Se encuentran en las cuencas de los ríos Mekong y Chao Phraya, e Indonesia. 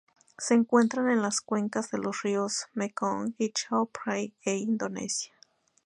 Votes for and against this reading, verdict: 2, 0, accepted